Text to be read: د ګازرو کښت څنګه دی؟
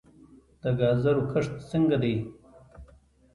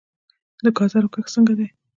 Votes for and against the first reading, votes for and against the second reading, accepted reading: 2, 0, 1, 2, first